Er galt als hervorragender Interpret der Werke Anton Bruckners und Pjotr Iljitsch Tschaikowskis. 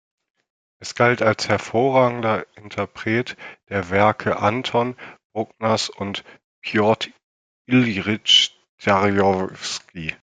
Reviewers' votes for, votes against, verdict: 0, 2, rejected